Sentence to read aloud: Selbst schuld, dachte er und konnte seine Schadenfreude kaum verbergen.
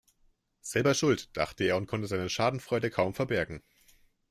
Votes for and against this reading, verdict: 1, 2, rejected